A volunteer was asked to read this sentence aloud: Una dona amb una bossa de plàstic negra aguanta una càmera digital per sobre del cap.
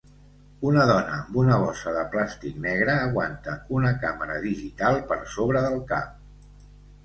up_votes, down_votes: 2, 1